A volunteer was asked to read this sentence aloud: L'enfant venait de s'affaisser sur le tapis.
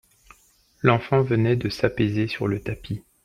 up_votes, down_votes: 0, 2